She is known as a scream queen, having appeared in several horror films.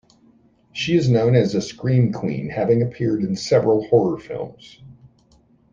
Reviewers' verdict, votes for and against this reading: accepted, 2, 0